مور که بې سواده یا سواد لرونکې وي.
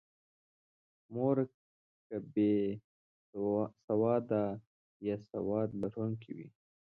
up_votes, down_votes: 2, 1